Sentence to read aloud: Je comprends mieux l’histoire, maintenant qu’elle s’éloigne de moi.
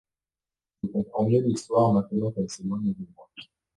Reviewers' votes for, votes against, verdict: 2, 0, accepted